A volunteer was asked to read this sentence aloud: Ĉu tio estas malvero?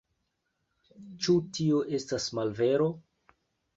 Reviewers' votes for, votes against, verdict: 2, 0, accepted